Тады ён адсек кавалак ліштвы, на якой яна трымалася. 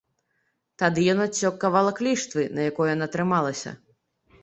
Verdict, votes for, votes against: accepted, 3, 1